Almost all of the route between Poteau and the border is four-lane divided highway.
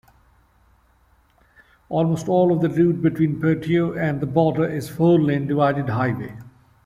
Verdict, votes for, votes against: accepted, 2, 0